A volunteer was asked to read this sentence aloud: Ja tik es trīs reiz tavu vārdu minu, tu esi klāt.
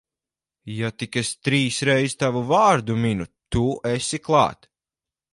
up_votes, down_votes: 4, 0